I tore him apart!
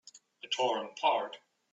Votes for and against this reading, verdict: 2, 0, accepted